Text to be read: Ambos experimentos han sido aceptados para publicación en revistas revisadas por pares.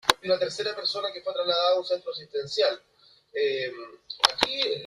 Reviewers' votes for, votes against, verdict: 0, 2, rejected